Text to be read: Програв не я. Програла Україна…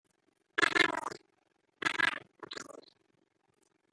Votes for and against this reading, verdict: 0, 2, rejected